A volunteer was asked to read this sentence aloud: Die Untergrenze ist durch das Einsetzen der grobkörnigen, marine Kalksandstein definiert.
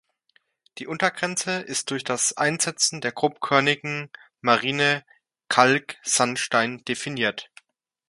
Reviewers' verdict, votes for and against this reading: accepted, 2, 0